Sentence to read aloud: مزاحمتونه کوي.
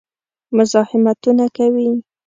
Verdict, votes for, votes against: accepted, 3, 0